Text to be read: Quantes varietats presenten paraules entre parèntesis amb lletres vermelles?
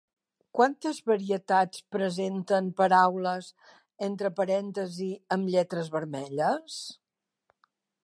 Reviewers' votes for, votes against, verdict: 1, 2, rejected